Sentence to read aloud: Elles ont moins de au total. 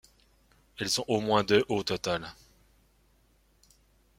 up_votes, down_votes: 1, 2